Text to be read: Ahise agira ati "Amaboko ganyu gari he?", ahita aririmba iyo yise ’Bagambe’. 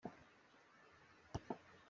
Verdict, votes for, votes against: rejected, 0, 2